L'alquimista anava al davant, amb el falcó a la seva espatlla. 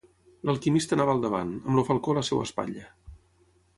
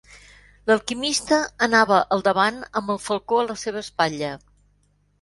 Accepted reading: second